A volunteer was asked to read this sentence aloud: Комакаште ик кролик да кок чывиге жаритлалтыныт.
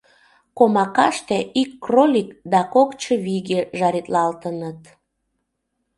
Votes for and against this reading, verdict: 2, 0, accepted